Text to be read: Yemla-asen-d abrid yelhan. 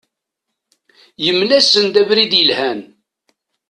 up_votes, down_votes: 0, 2